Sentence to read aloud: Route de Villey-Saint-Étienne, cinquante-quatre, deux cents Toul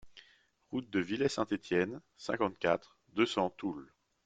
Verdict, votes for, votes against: accepted, 2, 0